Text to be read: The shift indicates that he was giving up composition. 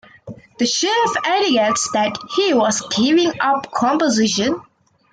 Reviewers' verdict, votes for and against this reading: accepted, 2, 0